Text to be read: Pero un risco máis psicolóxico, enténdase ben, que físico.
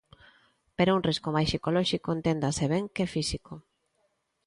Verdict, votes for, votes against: accepted, 2, 0